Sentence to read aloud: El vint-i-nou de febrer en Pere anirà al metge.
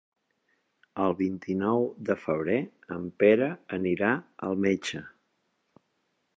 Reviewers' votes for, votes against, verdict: 3, 1, accepted